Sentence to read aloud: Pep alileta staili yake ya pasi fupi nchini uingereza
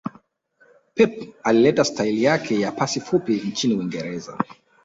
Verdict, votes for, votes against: accepted, 2, 0